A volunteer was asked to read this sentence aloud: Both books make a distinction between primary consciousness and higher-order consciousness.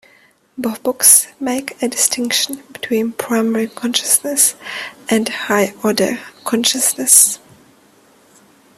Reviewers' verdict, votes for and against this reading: rejected, 0, 2